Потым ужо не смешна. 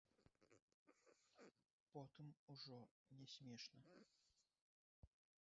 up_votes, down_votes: 1, 2